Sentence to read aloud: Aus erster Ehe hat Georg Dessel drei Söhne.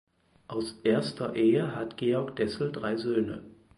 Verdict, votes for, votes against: accepted, 4, 0